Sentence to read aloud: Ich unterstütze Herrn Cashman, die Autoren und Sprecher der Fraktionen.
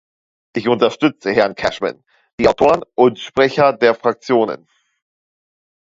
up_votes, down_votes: 1, 2